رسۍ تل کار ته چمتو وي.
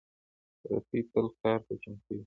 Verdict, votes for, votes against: rejected, 1, 2